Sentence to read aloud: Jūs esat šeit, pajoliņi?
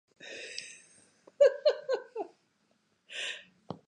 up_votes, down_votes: 0, 2